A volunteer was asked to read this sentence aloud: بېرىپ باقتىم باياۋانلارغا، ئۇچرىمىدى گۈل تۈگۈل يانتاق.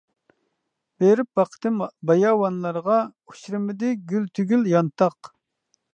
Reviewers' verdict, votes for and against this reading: rejected, 1, 2